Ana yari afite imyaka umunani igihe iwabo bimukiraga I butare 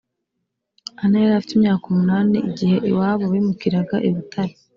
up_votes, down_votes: 2, 0